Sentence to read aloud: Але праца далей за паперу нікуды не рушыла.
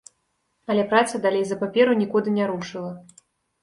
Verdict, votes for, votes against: accepted, 2, 0